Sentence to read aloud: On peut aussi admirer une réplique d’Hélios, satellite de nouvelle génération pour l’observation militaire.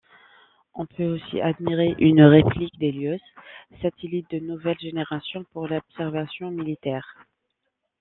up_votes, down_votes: 2, 0